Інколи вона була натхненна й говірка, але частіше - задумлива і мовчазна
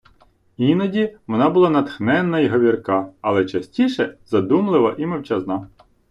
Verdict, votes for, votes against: rejected, 0, 2